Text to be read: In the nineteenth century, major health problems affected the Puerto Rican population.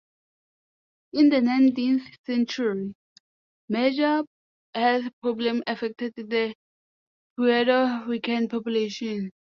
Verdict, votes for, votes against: rejected, 0, 2